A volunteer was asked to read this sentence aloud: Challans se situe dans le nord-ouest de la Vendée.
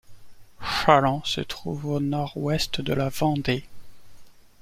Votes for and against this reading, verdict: 1, 2, rejected